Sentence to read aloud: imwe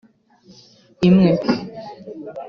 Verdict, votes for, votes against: accepted, 2, 0